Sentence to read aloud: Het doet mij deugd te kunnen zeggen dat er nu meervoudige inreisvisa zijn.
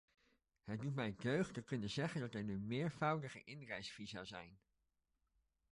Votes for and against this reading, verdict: 2, 1, accepted